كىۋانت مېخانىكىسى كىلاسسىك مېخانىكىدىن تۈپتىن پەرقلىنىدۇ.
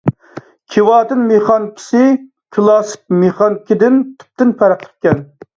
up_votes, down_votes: 0, 2